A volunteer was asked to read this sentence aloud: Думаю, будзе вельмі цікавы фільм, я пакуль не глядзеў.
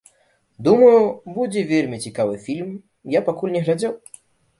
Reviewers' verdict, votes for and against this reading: accepted, 2, 0